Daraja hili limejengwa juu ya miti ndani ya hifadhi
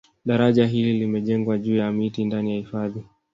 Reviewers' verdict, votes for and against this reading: rejected, 1, 2